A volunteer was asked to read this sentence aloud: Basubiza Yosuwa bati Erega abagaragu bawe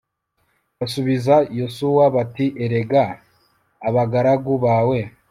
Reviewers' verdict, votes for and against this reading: accepted, 2, 0